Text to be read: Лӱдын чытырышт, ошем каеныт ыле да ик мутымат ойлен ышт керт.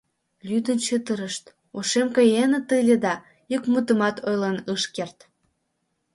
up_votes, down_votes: 1, 2